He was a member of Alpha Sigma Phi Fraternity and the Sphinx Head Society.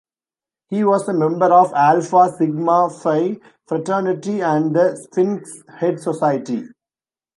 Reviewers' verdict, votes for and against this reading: rejected, 0, 2